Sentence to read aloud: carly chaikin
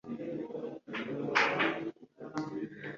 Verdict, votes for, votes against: rejected, 0, 3